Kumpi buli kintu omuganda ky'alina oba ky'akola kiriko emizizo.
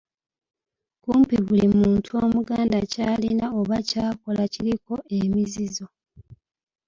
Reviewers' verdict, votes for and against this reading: rejected, 0, 2